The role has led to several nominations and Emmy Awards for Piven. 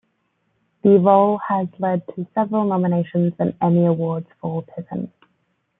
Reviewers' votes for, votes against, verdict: 2, 0, accepted